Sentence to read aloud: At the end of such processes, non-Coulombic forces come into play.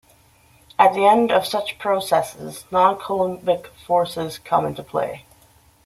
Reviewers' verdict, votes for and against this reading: rejected, 1, 2